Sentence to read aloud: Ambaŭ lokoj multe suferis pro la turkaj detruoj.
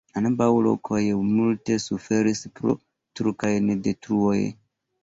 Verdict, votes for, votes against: rejected, 1, 2